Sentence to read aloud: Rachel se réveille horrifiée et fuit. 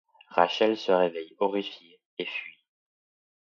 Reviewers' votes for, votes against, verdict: 2, 0, accepted